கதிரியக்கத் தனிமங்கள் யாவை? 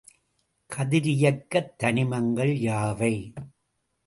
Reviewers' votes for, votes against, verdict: 2, 0, accepted